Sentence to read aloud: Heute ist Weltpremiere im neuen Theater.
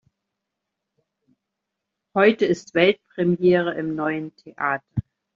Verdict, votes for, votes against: rejected, 1, 2